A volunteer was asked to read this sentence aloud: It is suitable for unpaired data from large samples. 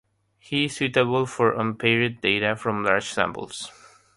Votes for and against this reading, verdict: 0, 3, rejected